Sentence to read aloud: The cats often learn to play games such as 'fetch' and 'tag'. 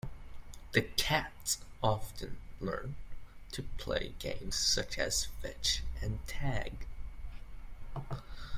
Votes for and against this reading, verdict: 2, 0, accepted